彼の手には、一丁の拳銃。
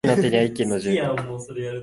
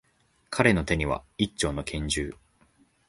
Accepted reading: second